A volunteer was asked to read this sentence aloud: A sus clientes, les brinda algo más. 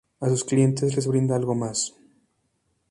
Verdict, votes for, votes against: accepted, 2, 0